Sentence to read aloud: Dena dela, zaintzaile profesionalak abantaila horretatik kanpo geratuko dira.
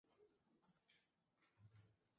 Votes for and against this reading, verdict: 0, 2, rejected